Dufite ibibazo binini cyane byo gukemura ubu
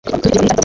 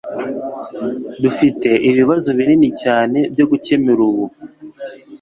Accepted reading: second